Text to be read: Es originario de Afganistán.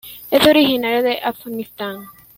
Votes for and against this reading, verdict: 1, 2, rejected